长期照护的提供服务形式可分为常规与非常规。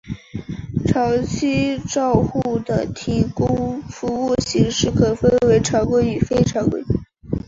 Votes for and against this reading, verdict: 2, 0, accepted